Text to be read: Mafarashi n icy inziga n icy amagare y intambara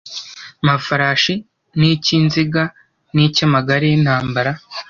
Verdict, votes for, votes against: accepted, 2, 0